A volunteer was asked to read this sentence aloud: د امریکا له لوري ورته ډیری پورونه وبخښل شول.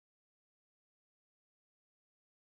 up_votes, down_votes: 0, 2